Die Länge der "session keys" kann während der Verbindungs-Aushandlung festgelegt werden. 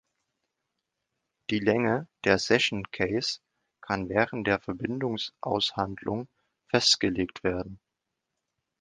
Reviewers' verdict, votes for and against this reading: rejected, 1, 2